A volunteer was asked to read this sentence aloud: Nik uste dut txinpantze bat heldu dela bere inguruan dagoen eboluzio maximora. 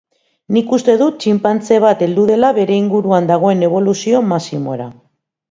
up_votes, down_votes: 2, 0